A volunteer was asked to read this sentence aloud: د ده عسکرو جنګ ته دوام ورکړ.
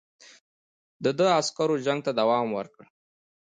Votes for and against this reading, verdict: 2, 0, accepted